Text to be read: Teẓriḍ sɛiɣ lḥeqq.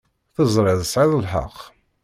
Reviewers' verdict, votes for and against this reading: rejected, 1, 2